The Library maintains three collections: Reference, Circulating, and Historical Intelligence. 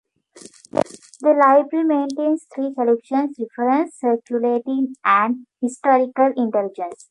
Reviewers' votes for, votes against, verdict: 2, 0, accepted